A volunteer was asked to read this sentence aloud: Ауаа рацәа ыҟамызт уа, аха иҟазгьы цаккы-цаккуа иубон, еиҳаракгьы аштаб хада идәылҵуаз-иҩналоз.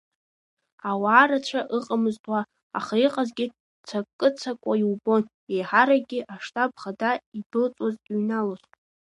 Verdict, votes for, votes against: accepted, 2, 0